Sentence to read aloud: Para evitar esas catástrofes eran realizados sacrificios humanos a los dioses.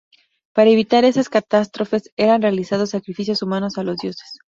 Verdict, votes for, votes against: accepted, 2, 0